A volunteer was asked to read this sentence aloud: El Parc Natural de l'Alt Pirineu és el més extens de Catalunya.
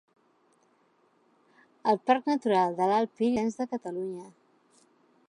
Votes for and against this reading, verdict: 0, 2, rejected